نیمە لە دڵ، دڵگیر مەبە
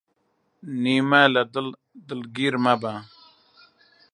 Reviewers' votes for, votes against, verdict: 2, 3, rejected